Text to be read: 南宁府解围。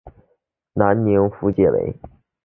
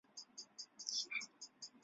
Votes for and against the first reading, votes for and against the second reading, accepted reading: 2, 0, 1, 3, first